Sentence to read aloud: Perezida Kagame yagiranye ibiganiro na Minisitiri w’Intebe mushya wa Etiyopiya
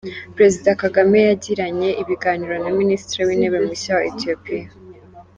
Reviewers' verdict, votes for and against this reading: accepted, 3, 0